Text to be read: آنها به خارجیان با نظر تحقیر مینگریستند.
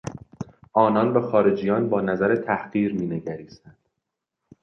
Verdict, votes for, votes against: rejected, 0, 2